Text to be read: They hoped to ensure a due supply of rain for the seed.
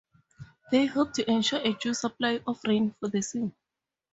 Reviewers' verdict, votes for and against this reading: accepted, 2, 0